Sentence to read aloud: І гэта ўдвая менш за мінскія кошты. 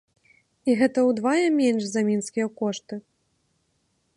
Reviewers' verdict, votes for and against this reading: rejected, 1, 3